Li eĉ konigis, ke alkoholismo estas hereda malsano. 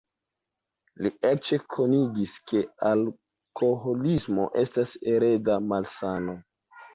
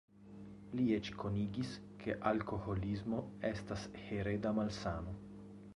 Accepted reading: second